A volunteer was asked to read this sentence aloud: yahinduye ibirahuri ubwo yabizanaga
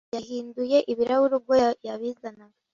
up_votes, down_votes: 0, 2